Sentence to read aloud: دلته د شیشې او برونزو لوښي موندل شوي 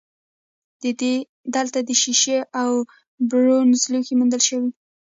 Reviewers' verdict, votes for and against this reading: rejected, 1, 2